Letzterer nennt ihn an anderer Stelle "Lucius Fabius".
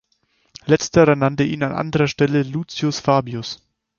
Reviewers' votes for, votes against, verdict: 0, 4, rejected